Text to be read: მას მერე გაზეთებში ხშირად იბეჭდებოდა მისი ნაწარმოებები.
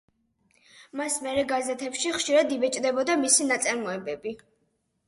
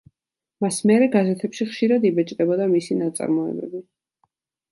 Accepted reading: second